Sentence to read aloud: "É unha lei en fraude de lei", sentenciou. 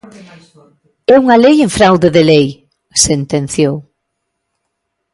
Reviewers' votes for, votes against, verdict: 1, 2, rejected